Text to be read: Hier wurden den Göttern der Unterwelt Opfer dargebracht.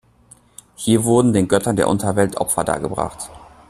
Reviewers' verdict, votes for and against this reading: accepted, 2, 0